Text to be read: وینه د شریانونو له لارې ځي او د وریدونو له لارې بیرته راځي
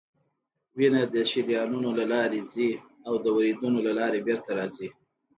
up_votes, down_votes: 1, 2